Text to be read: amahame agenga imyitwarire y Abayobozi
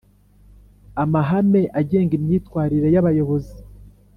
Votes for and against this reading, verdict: 2, 0, accepted